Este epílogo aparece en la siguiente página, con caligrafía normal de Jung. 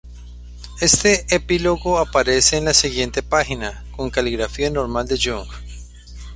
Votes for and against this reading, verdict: 2, 0, accepted